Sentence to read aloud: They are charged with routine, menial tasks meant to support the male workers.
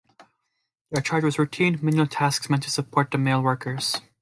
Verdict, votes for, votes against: accepted, 2, 0